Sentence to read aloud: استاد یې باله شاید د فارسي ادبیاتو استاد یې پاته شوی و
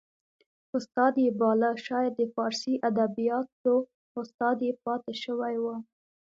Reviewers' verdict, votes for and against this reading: accepted, 2, 0